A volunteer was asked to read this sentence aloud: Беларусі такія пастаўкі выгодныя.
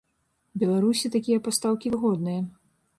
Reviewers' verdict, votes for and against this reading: accepted, 3, 0